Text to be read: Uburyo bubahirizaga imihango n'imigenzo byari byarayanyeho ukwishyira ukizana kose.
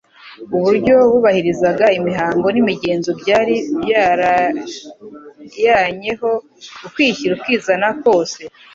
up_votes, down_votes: 1, 2